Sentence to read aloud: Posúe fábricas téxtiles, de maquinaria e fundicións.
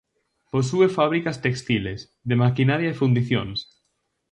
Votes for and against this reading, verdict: 0, 4, rejected